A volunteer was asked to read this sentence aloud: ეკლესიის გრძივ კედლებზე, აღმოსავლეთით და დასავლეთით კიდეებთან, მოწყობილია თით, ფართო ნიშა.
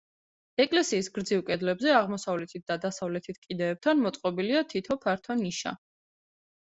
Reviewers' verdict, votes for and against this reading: rejected, 0, 2